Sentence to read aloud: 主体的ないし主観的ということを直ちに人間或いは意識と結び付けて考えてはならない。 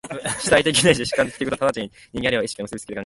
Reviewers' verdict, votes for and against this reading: rejected, 1, 2